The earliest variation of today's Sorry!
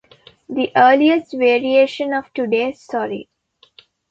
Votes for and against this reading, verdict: 2, 0, accepted